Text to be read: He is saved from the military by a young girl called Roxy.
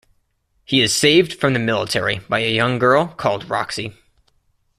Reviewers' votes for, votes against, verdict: 2, 0, accepted